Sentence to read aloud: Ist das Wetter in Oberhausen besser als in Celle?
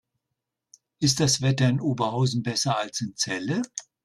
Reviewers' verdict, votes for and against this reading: accepted, 3, 0